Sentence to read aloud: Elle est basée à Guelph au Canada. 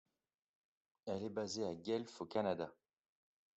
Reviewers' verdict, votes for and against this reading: accepted, 2, 0